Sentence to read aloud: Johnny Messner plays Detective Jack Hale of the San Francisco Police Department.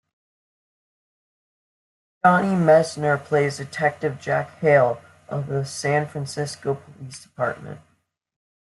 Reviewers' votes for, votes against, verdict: 2, 0, accepted